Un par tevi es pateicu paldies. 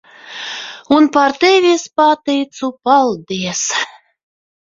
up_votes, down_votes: 0, 2